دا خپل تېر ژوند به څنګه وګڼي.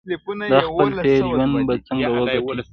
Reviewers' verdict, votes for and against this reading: rejected, 1, 2